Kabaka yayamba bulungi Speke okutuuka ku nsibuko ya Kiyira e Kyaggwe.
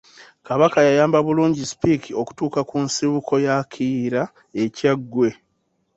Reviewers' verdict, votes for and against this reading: accepted, 2, 0